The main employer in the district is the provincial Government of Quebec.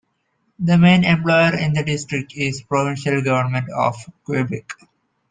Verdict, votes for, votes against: accepted, 2, 0